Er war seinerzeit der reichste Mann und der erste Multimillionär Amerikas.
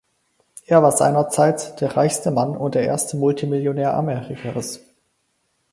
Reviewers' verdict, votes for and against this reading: accepted, 4, 0